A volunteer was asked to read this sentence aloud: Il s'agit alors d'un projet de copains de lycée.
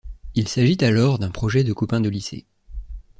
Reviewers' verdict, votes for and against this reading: accepted, 2, 0